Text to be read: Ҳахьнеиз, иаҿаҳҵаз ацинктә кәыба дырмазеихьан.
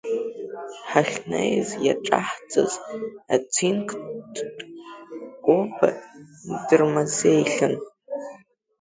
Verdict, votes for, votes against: rejected, 0, 2